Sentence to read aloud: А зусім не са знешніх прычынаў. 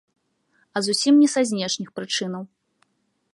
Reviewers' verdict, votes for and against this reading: accepted, 2, 0